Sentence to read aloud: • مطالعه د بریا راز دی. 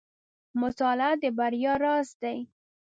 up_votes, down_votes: 2, 0